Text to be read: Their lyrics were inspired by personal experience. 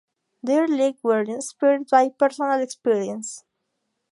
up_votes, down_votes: 0, 2